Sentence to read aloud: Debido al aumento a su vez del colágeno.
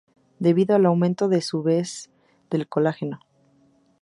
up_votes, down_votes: 2, 2